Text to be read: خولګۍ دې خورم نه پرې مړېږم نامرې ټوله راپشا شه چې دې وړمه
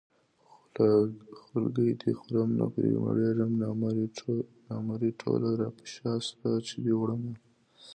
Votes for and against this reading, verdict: 1, 2, rejected